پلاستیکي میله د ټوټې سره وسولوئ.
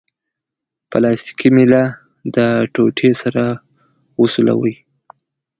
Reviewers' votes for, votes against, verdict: 2, 0, accepted